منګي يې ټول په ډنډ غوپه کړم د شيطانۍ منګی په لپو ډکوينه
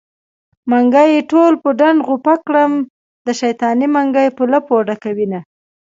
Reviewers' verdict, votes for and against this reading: accepted, 2, 0